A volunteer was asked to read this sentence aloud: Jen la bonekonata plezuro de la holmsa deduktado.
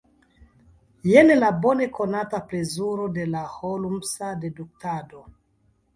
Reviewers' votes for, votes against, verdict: 2, 0, accepted